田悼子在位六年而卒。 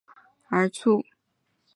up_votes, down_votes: 0, 2